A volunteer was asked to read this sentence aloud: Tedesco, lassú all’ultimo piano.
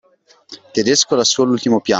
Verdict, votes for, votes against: rejected, 0, 2